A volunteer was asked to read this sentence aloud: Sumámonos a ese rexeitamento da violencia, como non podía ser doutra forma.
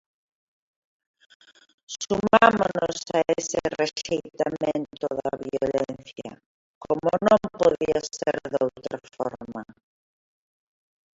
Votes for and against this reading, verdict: 0, 6, rejected